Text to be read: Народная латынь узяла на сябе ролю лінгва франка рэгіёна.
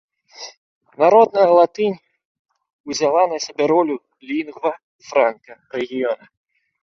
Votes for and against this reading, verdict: 1, 2, rejected